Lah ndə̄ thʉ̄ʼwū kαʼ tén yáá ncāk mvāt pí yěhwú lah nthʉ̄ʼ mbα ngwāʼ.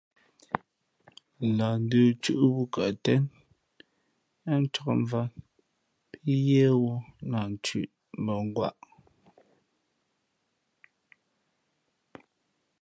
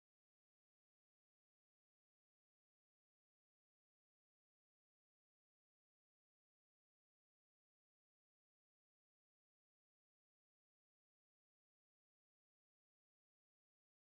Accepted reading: first